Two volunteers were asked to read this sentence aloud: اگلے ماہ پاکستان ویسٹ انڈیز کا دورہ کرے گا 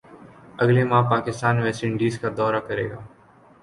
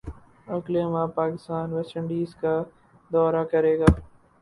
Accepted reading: first